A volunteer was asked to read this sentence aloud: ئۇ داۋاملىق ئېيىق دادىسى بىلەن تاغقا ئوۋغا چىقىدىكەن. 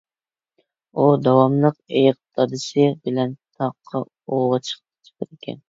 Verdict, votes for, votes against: rejected, 0, 2